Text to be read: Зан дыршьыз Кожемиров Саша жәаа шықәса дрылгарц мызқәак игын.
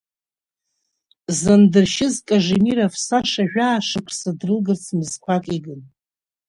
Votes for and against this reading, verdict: 1, 2, rejected